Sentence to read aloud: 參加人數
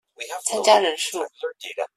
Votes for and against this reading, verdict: 0, 2, rejected